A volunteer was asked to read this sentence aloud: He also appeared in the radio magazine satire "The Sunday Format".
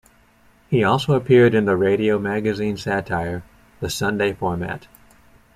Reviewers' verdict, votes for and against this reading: accepted, 2, 0